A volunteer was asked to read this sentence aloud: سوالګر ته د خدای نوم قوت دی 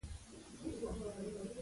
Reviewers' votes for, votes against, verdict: 0, 2, rejected